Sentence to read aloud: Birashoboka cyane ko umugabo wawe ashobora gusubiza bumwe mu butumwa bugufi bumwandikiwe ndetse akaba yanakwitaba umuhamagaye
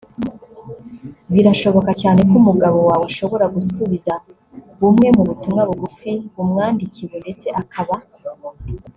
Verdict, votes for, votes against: rejected, 0, 2